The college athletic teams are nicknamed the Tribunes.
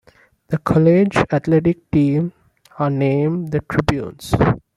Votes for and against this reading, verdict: 0, 2, rejected